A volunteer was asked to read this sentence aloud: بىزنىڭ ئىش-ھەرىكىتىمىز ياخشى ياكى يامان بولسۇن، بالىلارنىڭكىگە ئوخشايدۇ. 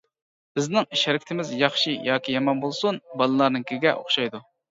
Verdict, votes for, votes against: accepted, 2, 0